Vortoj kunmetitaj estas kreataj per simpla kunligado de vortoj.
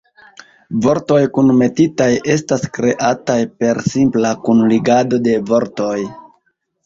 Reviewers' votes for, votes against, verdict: 2, 0, accepted